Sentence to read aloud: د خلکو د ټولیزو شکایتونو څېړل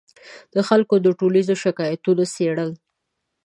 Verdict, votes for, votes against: accepted, 2, 0